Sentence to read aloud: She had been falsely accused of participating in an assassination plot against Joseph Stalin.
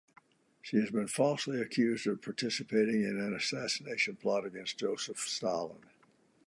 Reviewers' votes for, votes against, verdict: 2, 0, accepted